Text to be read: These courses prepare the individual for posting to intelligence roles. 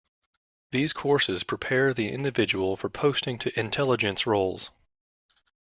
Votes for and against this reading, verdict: 3, 0, accepted